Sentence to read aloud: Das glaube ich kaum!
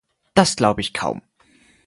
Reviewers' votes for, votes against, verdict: 4, 0, accepted